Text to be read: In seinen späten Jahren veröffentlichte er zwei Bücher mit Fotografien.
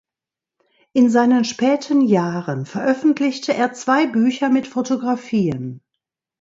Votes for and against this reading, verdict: 1, 2, rejected